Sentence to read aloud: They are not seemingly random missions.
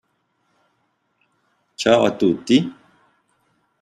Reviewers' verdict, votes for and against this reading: rejected, 0, 2